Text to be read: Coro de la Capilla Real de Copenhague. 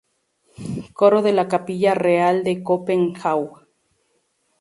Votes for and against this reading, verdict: 2, 0, accepted